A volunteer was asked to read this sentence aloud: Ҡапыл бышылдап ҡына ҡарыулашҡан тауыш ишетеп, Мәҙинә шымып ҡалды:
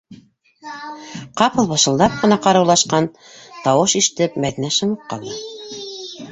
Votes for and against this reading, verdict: 0, 2, rejected